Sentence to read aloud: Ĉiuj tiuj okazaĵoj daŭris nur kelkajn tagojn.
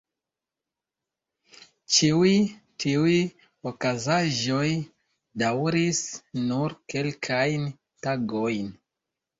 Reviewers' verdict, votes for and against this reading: rejected, 0, 2